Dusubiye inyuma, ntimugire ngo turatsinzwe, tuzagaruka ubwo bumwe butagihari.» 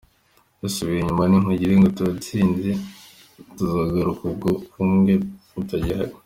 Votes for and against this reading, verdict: 1, 2, rejected